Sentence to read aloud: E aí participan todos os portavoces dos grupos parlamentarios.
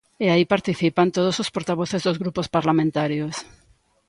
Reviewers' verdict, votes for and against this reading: accepted, 2, 0